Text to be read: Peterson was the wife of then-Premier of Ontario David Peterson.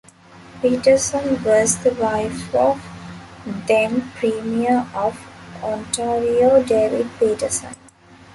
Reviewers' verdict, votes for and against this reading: rejected, 0, 2